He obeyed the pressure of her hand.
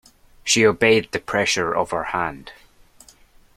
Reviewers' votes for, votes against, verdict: 0, 2, rejected